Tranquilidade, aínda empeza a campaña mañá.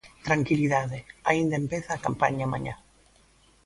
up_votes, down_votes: 3, 0